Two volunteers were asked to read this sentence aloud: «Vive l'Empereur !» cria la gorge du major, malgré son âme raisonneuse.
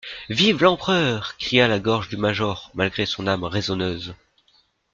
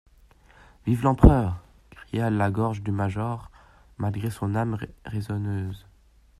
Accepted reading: first